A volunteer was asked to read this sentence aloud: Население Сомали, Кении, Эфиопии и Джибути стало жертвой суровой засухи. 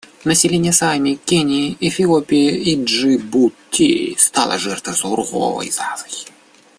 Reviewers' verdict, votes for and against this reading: rejected, 0, 2